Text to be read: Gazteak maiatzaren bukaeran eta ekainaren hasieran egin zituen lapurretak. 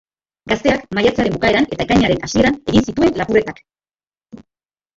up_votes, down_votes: 0, 2